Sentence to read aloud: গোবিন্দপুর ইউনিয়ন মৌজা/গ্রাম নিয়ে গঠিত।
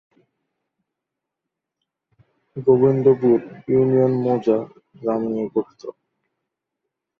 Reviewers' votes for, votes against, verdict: 0, 2, rejected